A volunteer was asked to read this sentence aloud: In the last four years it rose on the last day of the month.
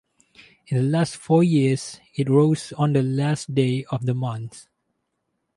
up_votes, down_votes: 4, 0